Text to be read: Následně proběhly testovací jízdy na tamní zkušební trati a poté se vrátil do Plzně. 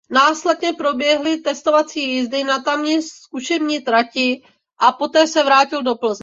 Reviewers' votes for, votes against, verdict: 0, 2, rejected